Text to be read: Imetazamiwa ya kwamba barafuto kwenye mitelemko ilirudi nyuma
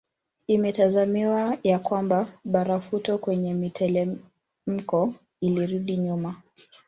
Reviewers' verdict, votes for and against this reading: accepted, 2, 0